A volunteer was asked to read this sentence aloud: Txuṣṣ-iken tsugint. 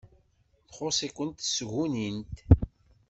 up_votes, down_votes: 2, 3